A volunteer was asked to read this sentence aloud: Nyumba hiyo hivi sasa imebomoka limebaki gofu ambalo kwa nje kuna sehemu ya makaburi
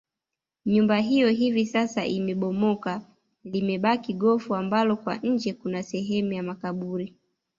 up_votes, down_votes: 2, 0